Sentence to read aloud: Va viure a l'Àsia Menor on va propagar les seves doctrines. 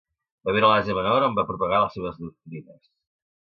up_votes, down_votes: 0, 2